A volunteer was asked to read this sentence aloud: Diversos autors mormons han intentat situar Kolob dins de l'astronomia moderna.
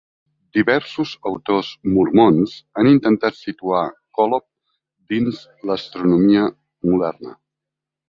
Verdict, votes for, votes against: rejected, 0, 2